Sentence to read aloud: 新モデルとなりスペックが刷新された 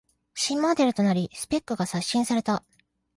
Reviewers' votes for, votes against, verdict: 2, 0, accepted